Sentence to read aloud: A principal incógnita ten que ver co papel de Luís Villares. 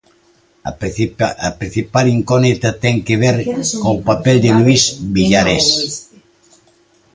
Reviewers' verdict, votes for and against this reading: rejected, 0, 2